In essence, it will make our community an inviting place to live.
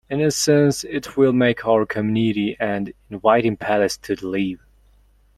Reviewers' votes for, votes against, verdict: 0, 2, rejected